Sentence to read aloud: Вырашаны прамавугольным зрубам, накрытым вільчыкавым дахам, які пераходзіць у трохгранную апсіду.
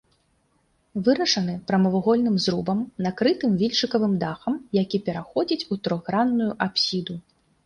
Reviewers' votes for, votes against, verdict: 2, 0, accepted